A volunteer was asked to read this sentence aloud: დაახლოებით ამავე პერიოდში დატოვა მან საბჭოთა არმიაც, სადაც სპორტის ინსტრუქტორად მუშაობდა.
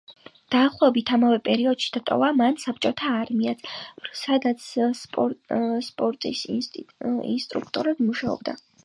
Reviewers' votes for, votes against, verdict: 2, 1, accepted